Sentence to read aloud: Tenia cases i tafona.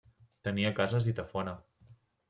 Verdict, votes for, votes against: accepted, 2, 0